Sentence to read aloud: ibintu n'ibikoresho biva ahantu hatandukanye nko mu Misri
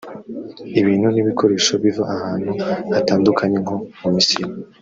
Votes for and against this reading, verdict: 0, 2, rejected